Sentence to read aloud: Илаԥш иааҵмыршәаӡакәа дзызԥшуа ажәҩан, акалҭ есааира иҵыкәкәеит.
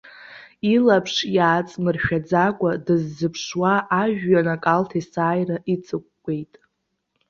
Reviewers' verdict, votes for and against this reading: accepted, 2, 0